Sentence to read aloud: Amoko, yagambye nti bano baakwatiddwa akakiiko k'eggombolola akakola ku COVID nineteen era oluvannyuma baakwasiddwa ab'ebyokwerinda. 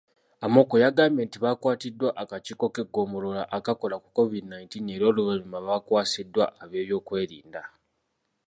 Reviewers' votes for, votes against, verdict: 2, 0, accepted